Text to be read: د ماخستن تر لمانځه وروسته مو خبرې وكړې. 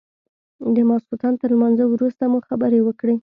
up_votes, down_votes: 2, 0